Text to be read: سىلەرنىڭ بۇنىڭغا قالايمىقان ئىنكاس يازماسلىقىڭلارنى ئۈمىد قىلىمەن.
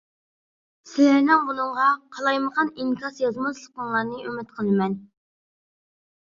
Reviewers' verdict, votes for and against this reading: accepted, 2, 0